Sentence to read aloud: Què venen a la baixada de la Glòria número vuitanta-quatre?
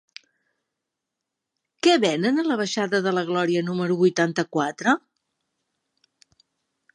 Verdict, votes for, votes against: accepted, 3, 0